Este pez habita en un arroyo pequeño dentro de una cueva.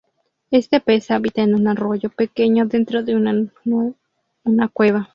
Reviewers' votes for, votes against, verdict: 0, 4, rejected